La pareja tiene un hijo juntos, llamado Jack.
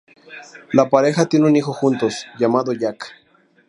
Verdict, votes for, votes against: rejected, 0, 2